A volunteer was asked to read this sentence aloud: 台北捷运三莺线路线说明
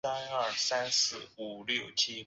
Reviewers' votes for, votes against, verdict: 1, 3, rejected